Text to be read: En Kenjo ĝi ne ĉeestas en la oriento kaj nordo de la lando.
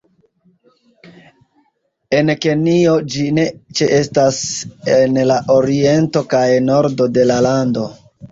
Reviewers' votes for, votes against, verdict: 2, 1, accepted